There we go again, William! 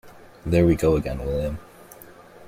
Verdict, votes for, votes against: accepted, 2, 0